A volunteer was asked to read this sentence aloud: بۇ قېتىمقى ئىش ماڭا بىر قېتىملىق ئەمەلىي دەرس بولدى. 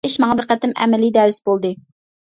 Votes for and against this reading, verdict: 0, 2, rejected